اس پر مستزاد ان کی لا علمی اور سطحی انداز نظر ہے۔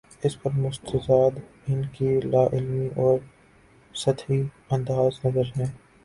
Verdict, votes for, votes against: rejected, 1, 3